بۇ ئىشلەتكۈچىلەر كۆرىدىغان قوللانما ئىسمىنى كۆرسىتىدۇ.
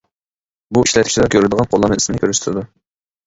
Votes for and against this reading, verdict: 0, 2, rejected